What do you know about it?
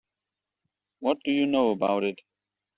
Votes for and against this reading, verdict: 2, 0, accepted